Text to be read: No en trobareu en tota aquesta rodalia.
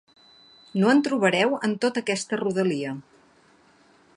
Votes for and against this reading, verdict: 3, 0, accepted